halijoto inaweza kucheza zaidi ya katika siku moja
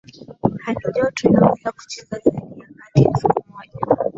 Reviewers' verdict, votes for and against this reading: accepted, 2, 0